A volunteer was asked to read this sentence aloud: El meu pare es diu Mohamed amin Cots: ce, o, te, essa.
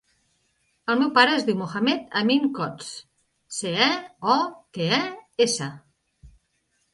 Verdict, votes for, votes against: rejected, 1, 2